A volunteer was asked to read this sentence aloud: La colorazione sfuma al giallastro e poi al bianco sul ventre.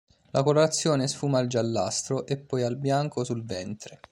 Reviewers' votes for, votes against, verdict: 2, 0, accepted